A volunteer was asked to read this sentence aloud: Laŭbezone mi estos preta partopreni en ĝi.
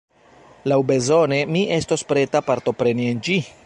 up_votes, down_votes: 2, 1